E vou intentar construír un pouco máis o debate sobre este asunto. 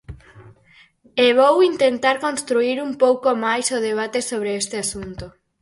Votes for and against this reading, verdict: 4, 0, accepted